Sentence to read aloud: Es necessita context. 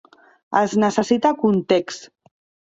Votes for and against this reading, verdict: 4, 0, accepted